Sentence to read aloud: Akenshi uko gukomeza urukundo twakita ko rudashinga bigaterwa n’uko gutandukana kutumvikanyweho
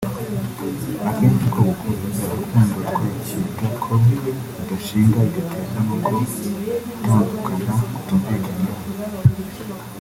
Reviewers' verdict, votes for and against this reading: rejected, 0, 3